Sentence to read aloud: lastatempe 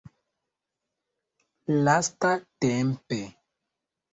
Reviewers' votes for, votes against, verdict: 0, 2, rejected